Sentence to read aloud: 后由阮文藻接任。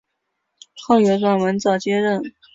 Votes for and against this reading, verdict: 5, 0, accepted